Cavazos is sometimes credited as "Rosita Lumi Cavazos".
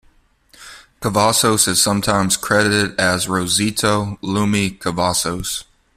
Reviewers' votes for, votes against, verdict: 2, 0, accepted